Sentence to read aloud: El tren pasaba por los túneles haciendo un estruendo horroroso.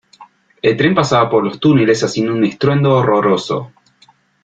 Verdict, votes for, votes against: accepted, 2, 0